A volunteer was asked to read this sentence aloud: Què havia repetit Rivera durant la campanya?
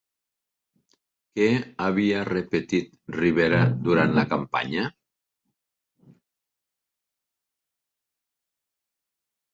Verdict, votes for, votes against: accepted, 2, 0